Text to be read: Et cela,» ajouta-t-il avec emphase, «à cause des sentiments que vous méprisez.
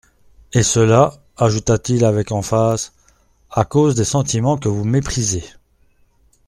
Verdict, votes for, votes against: accepted, 2, 0